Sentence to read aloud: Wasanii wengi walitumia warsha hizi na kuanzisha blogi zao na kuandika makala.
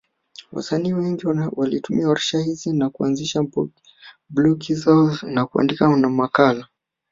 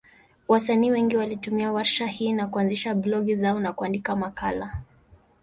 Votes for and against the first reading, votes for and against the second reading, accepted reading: 1, 2, 4, 0, second